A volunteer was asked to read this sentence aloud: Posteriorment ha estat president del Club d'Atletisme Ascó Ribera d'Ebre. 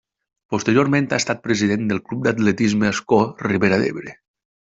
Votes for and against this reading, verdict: 2, 0, accepted